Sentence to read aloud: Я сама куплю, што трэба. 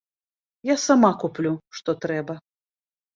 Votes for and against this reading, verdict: 2, 0, accepted